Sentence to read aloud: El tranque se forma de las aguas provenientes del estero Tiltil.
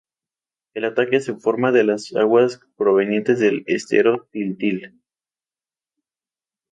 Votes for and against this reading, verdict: 0, 2, rejected